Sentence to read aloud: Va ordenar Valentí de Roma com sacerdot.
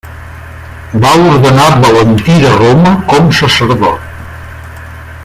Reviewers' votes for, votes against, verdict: 1, 2, rejected